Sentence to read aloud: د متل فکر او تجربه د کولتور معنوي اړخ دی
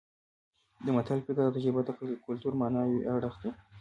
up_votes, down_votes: 1, 2